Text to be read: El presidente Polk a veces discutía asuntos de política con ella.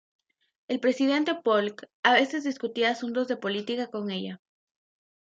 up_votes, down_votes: 2, 0